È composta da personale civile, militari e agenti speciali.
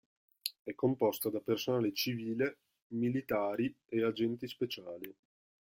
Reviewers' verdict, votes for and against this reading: rejected, 1, 2